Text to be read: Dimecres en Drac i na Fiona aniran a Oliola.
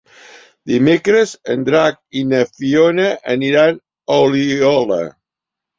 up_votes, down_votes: 3, 0